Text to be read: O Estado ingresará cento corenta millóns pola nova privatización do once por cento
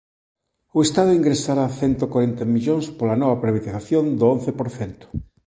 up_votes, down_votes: 1, 2